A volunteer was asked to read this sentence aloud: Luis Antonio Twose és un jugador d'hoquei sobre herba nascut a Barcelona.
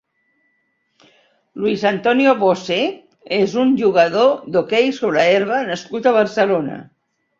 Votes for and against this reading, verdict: 0, 2, rejected